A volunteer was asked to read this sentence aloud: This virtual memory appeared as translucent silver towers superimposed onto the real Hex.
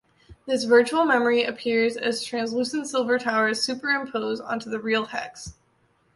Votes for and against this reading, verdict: 0, 2, rejected